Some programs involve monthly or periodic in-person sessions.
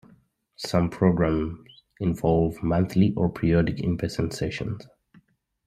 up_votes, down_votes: 2, 0